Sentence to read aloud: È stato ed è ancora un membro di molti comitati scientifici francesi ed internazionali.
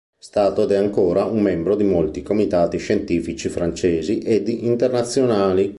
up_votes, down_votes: 0, 2